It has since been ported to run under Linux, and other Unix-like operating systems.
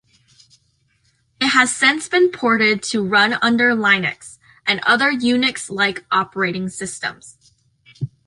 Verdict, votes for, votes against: accepted, 2, 0